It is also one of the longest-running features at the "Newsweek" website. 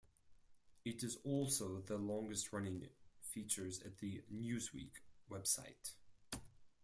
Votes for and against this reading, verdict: 2, 4, rejected